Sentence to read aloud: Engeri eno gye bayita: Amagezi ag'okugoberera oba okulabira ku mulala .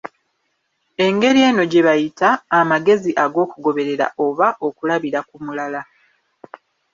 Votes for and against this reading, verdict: 2, 1, accepted